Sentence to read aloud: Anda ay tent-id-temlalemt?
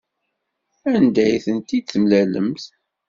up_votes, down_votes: 2, 0